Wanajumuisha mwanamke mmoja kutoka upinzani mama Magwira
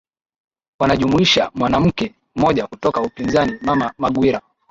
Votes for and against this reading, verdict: 5, 1, accepted